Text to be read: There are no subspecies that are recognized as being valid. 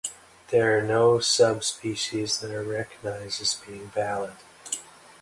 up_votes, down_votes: 2, 0